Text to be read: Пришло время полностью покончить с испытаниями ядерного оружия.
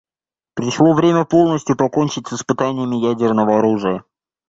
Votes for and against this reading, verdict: 0, 2, rejected